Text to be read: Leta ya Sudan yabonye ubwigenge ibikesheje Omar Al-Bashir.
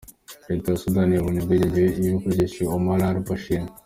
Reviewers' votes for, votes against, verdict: 1, 2, rejected